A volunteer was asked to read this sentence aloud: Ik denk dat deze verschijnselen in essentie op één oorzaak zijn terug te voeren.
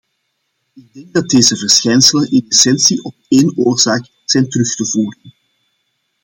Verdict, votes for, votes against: rejected, 0, 2